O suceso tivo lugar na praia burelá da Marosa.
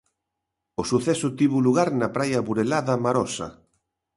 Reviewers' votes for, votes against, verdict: 2, 0, accepted